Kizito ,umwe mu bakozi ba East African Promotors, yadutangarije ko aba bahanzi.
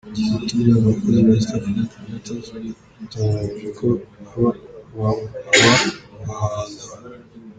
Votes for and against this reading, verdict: 0, 2, rejected